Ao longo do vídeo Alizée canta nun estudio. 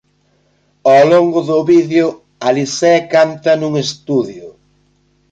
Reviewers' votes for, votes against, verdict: 2, 0, accepted